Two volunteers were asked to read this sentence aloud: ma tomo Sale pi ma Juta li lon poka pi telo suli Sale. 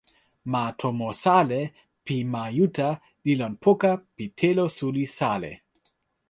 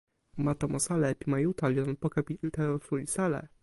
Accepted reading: first